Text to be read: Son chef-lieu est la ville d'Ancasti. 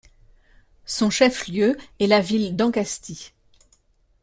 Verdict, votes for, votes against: accepted, 2, 0